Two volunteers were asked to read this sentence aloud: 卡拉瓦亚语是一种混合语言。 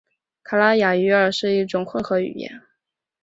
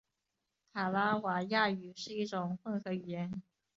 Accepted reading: second